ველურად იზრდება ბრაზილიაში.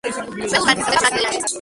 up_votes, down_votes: 0, 2